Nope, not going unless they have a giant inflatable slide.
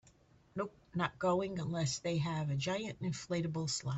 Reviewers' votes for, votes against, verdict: 1, 2, rejected